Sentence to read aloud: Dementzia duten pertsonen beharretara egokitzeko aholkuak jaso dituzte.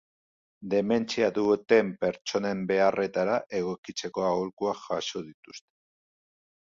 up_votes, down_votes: 0, 2